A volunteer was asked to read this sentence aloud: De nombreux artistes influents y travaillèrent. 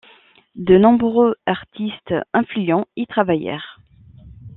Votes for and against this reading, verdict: 2, 0, accepted